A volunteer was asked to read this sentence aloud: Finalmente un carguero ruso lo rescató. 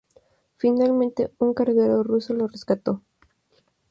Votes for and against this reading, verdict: 2, 0, accepted